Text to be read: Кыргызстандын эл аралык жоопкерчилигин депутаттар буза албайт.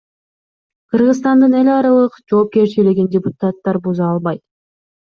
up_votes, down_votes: 2, 0